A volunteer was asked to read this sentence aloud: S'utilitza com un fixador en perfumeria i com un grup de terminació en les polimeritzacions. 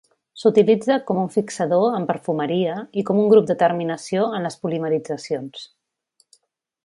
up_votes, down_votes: 5, 0